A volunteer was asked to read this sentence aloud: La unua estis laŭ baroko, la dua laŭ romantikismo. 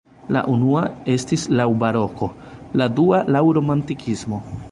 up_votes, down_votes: 0, 2